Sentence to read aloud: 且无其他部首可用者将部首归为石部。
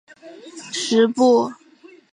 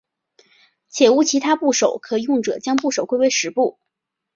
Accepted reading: second